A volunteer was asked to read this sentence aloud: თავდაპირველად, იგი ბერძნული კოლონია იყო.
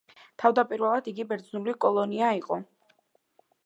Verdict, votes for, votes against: accepted, 2, 0